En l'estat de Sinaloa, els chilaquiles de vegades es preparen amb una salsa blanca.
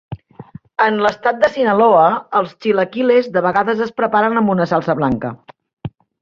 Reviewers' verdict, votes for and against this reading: accepted, 3, 0